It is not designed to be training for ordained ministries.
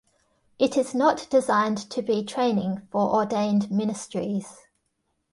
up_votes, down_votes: 2, 0